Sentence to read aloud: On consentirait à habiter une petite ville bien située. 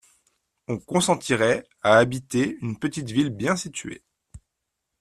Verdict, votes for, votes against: accepted, 2, 0